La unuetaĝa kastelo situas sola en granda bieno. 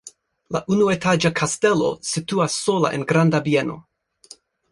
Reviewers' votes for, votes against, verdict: 2, 1, accepted